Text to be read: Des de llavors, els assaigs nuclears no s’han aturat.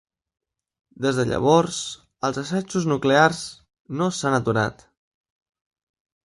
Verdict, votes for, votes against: rejected, 1, 2